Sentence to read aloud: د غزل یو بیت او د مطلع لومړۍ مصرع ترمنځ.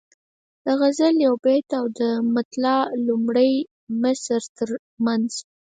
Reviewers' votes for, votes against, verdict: 0, 4, rejected